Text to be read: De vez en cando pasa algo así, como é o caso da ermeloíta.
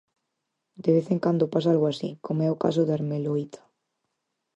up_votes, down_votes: 4, 0